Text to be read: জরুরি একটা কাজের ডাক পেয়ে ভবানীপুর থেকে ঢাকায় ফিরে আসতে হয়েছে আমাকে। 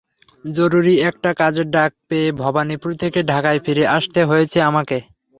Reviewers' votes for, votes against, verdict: 3, 0, accepted